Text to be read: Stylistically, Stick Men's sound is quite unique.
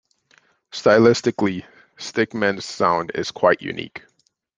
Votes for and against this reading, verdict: 2, 0, accepted